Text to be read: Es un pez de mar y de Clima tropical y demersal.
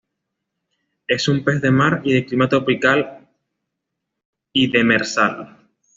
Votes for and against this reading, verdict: 2, 0, accepted